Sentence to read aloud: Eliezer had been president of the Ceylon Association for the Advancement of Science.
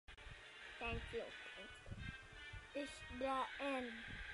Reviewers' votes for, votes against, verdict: 0, 2, rejected